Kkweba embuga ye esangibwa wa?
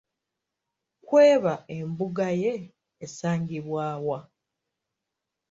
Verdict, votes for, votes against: accepted, 2, 0